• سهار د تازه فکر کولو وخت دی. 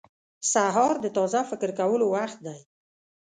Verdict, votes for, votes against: rejected, 0, 2